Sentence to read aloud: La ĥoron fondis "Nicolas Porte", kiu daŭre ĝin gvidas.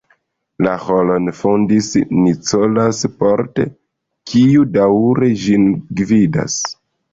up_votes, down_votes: 1, 2